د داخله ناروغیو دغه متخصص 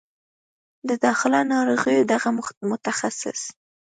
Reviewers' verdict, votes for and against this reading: accepted, 2, 0